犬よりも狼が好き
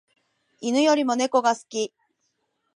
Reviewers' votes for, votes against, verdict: 0, 2, rejected